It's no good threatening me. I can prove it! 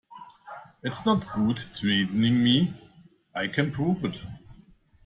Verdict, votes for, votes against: rejected, 0, 2